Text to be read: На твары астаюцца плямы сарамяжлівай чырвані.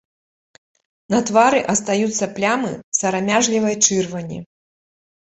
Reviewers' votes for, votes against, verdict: 3, 0, accepted